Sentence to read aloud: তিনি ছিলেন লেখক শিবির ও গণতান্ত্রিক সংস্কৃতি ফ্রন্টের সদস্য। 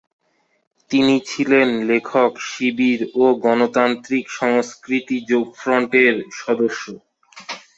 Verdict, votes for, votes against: rejected, 0, 2